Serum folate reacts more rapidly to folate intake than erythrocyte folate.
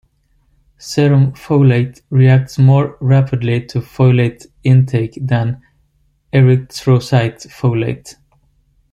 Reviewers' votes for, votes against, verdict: 1, 2, rejected